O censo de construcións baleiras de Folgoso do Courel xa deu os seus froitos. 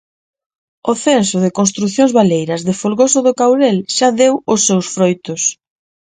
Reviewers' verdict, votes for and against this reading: rejected, 2, 2